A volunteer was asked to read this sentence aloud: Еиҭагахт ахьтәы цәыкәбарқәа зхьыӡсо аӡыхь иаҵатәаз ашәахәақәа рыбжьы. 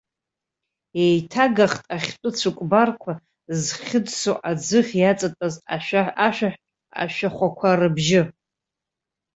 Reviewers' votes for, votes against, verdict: 1, 2, rejected